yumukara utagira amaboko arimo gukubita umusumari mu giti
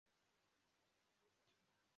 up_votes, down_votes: 0, 2